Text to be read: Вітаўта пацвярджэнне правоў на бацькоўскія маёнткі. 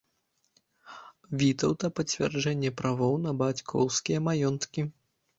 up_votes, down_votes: 2, 1